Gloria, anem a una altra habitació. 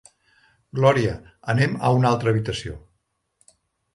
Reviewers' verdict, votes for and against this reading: accepted, 3, 0